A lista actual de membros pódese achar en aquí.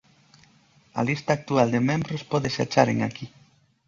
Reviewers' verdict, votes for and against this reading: accepted, 2, 0